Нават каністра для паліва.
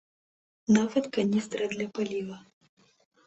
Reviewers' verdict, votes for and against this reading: rejected, 0, 2